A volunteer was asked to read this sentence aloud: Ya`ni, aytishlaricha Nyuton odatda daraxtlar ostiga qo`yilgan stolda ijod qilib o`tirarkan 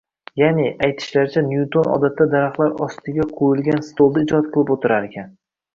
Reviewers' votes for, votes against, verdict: 2, 0, accepted